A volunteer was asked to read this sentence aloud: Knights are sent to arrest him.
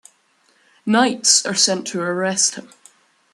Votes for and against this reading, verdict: 2, 0, accepted